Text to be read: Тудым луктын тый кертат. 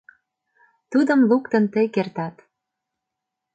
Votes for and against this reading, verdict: 2, 0, accepted